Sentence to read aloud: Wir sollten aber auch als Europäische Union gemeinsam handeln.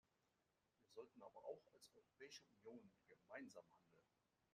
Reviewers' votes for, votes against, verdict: 1, 2, rejected